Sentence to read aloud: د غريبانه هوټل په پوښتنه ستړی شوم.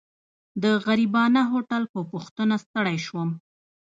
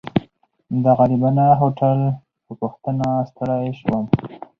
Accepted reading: second